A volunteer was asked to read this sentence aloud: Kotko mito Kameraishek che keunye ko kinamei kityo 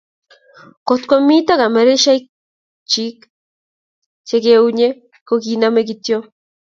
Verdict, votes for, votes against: accepted, 2, 0